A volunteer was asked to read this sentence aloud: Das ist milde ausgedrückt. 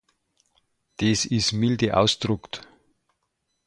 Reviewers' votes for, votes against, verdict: 0, 2, rejected